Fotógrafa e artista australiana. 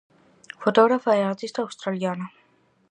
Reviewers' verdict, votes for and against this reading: accepted, 4, 0